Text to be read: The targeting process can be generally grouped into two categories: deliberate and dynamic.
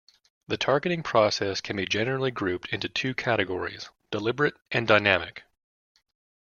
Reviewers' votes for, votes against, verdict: 2, 0, accepted